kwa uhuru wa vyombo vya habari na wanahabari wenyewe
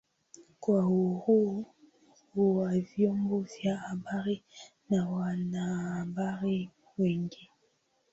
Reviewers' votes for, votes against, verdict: 0, 2, rejected